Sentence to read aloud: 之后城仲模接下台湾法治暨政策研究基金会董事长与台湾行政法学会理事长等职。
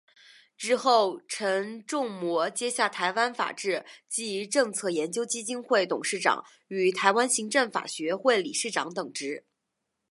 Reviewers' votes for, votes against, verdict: 2, 0, accepted